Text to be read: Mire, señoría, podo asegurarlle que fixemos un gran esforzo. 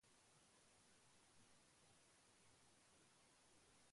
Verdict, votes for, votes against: rejected, 0, 2